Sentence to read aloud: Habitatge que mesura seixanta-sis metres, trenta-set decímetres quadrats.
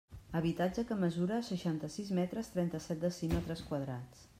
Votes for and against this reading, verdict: 3, 0, accepted